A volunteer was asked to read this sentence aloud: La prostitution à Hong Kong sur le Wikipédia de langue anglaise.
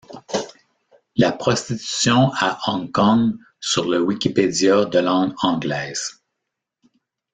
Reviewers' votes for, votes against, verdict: 2, 0, accepted